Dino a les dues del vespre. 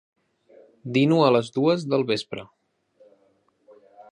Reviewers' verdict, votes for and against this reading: accepted, 3, 0